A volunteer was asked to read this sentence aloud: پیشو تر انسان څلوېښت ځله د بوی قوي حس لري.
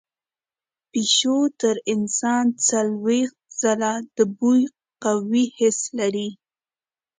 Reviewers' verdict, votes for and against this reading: accepted, 2, 0